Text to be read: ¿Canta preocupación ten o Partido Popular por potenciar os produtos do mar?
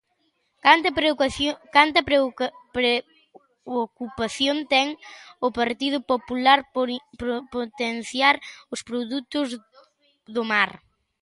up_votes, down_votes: 0, 2